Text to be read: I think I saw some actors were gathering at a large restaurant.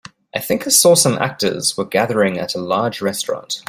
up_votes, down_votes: 2, 0